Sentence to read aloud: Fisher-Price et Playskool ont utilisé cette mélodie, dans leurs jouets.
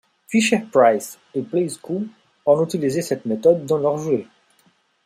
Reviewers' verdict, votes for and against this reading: rejected, 1, 2